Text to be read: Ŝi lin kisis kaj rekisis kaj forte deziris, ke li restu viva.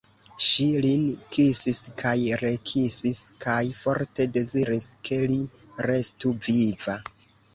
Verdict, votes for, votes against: rejected, 1, 2